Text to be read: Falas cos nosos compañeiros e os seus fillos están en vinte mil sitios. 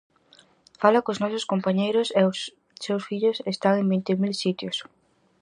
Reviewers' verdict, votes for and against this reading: rejected, 0, 4